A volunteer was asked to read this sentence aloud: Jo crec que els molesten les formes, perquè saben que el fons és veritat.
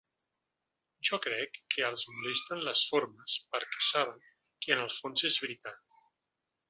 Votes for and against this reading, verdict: 1, 2, rejected